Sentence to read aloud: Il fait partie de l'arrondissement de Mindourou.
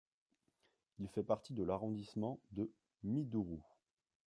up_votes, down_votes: 2, 1